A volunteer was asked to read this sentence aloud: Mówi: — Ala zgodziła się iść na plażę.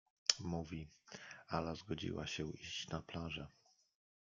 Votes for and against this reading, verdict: 0, 2, rejected